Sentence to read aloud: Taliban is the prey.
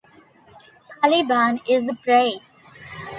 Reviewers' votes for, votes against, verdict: 1, 2, rejected